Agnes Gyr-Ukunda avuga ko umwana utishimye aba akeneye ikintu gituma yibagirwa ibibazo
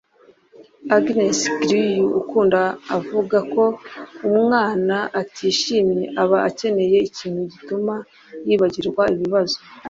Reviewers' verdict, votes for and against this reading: rejected, 1, 2